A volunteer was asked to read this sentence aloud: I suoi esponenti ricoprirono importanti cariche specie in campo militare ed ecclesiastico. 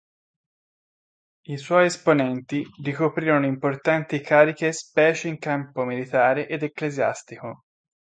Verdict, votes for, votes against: accepted, 2, 0